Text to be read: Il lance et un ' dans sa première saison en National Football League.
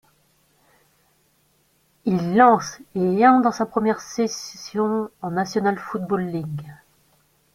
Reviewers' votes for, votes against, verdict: 0, 2, rejected